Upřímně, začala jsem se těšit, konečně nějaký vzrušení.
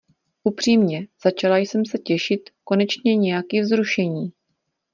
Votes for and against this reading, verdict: 2, 0, accepted